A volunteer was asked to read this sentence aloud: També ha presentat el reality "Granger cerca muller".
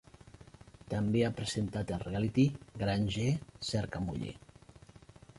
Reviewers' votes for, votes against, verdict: 2, 1, accepted